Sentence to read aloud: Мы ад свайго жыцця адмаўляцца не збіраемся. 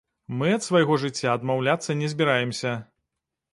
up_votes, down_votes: 2, 0